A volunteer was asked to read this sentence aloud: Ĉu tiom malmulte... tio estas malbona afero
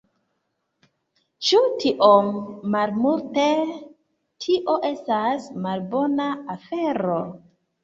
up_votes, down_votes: 2, 0